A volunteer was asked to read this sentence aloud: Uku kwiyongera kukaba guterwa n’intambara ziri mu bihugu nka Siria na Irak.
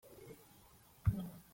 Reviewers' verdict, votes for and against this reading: rejected, 0, 2